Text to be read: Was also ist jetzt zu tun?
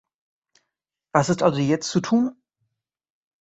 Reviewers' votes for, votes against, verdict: 1, 2, rejected